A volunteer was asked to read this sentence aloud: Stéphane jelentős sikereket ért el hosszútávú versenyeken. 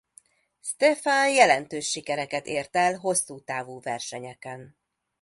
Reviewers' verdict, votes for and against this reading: accepted, 2, 0